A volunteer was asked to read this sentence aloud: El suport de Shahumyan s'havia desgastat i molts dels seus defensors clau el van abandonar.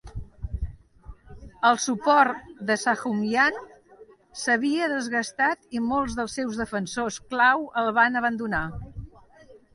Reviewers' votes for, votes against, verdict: 2, 0, accepted